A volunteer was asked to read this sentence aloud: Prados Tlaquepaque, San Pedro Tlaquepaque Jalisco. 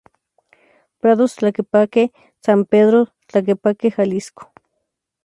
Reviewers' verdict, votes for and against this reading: accepted, 2, 0